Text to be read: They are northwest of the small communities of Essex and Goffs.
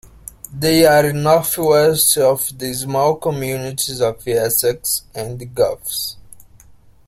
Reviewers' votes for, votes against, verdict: 2, 0, accepted